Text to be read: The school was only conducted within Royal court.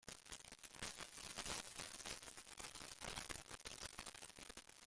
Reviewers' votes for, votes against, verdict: 0, 2, rejected